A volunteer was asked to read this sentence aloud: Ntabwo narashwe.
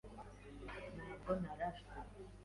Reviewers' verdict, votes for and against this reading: rejected, 1, 2